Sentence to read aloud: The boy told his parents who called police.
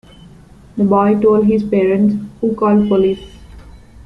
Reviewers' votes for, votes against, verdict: 1, 2, rejected